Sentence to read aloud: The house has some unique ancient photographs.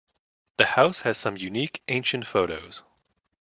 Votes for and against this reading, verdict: 1, 2, rejected